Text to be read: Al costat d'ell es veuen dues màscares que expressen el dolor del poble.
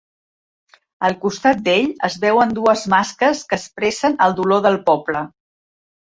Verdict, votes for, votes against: rejected, 1, 2